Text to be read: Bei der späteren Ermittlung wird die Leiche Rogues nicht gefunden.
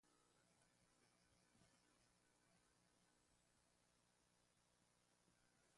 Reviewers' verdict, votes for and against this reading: rejected, 0, 2